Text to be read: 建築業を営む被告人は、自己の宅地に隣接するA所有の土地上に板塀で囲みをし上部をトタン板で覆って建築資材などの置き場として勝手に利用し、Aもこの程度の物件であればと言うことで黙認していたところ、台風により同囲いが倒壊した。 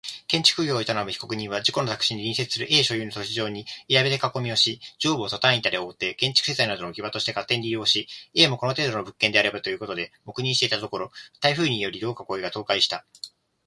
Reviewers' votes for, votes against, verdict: 2, 0, accepted